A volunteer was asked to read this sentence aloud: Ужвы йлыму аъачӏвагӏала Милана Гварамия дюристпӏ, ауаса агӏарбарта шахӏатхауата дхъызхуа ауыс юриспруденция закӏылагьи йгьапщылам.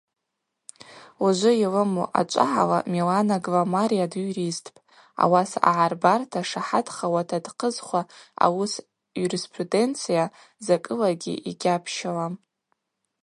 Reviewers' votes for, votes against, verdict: 0, 2, rejected